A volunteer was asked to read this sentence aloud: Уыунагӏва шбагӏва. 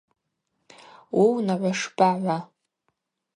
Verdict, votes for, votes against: rejected, 0, 2